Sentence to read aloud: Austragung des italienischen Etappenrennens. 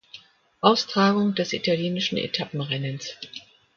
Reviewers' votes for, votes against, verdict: 2, 0, accepted